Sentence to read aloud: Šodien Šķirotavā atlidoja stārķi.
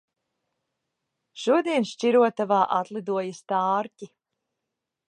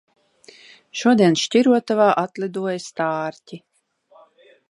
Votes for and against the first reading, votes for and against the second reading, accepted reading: 2, 0, 0, 2, first